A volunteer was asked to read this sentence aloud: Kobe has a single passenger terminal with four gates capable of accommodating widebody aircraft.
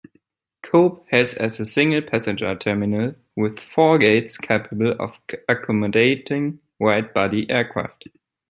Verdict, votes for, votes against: rejected, 0, 2